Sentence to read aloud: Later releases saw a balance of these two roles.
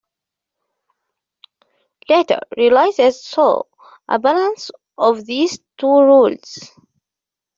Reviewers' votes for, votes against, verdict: 1, 2, rejected